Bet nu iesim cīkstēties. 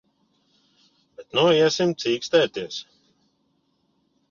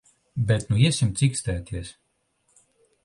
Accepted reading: second